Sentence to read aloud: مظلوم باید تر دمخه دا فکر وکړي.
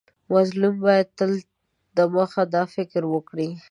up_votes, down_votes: 0, 2